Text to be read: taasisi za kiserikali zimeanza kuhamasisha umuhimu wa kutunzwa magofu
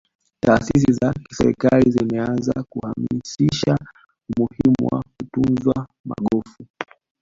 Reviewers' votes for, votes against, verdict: 0, 2, rejected